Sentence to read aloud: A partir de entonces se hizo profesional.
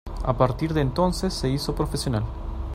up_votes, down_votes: 2, 0